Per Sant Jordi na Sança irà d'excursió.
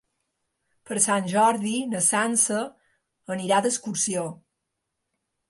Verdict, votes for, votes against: rejected, 0, 2